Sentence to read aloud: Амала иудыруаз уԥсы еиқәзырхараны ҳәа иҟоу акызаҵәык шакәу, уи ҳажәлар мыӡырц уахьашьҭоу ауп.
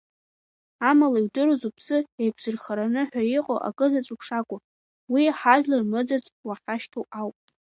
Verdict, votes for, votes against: accepted, 2, 1